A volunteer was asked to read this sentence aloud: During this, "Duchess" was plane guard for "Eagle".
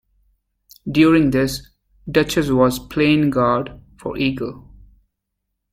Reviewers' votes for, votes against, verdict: 2, 0, accepted